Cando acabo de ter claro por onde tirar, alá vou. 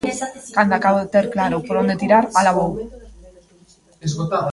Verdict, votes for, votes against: rejected, 0, 2